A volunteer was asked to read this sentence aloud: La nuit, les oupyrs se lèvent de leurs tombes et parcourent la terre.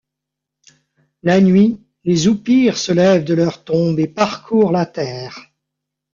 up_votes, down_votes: 2, 0